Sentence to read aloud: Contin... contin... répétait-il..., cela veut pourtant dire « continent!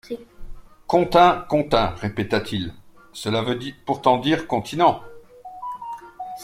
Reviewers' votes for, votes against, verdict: 0, 2, rejected